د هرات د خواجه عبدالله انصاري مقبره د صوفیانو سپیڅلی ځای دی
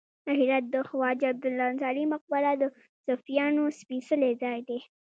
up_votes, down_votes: 2, 0